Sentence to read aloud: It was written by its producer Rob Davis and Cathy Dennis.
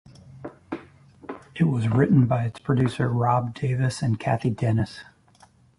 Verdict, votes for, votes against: rejected, 0, 3